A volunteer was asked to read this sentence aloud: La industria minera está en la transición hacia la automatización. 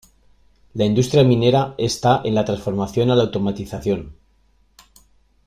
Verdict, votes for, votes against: rejected, 0, 2